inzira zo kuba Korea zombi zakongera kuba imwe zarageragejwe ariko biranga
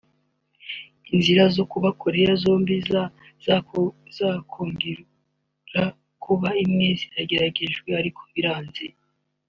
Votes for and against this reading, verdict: 1, 3, rejected